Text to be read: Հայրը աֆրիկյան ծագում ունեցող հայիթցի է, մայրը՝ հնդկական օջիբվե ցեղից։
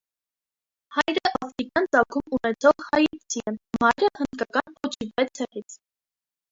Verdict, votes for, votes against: rejected, 1, 2